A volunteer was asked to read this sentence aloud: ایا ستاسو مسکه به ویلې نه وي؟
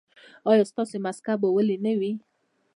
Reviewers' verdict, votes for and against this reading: accepted, 2, 1